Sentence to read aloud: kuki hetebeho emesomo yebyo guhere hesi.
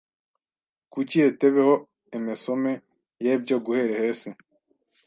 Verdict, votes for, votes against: rejected, 1, 2